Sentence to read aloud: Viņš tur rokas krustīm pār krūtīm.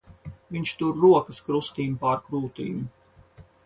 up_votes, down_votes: 4, 2